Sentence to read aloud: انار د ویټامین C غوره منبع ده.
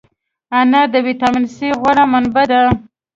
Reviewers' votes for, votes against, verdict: 2, 0, accepted